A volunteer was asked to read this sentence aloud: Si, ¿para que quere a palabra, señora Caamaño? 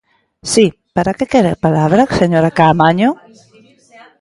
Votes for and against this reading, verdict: 2, 1, accepted